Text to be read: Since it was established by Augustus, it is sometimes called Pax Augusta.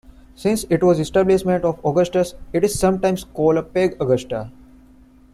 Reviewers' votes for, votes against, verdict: 0, 2, rejected